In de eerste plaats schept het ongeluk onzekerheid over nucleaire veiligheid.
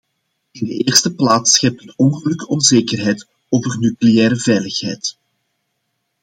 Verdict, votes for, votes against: accepted, 2, 0